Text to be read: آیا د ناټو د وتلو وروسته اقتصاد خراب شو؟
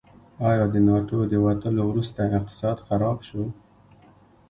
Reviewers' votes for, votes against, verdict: 2, 0, accepted